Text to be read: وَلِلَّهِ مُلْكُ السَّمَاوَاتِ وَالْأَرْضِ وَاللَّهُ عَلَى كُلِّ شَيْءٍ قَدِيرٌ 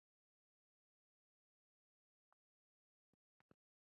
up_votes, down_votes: 0, 2